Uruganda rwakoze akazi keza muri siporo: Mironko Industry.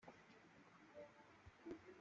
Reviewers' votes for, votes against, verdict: 0, 2, rejected